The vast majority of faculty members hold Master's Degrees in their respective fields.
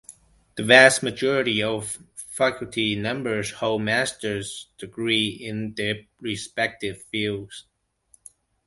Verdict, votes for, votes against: accepted, 2, 1